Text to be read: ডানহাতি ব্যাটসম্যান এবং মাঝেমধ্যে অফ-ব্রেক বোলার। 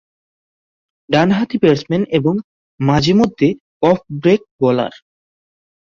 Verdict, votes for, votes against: accepted, 2, 0